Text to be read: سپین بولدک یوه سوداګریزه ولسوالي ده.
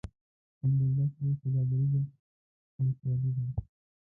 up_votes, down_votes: 1, 2